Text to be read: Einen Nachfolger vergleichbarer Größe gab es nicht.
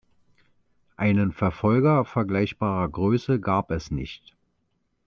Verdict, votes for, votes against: rejected, 0, 2